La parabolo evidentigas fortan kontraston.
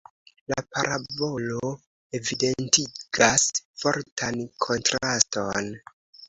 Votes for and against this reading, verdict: 2, 0, accepted